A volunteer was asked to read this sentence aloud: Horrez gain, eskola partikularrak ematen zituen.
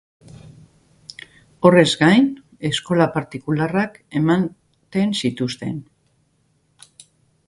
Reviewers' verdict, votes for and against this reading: rejected, 0, 3